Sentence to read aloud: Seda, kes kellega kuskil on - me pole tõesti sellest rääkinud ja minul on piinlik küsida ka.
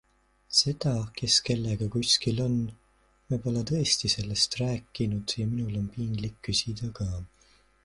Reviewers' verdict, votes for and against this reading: accepted, 2, 0